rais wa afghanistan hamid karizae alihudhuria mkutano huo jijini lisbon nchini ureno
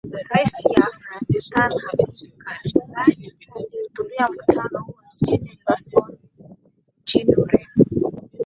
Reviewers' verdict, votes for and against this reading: rejected, 0, 2